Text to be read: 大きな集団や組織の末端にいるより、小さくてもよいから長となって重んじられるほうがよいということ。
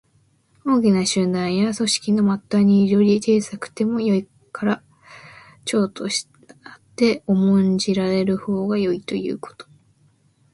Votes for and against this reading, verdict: 2, 0, accepted